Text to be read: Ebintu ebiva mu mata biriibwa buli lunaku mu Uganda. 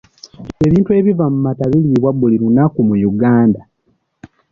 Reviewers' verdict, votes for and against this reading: accepted, 3, 0